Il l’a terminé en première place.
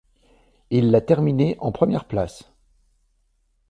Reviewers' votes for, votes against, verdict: 2, 0, accepted